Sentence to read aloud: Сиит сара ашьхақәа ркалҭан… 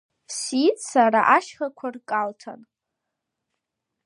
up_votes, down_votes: 2, 0